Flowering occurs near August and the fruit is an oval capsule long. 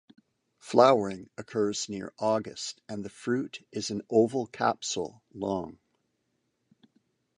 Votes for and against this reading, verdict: 2, 0, accepted